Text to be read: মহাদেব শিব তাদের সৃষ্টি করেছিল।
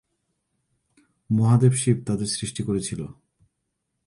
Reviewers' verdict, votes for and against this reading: accepted, 2, 0